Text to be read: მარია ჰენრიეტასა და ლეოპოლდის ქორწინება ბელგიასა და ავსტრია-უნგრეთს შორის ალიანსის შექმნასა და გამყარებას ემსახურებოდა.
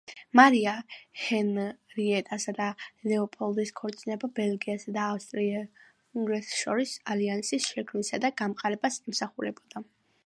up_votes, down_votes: 0, 2